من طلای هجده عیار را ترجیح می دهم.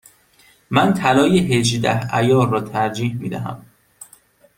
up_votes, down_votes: 2, 0